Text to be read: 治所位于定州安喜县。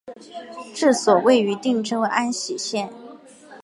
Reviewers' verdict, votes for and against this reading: accepted, 4, 0